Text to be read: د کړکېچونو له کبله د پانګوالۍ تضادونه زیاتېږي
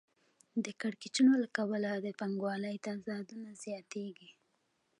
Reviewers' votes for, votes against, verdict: 2, 0, accepted